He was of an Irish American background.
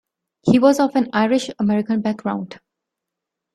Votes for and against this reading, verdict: 2, 0, accepted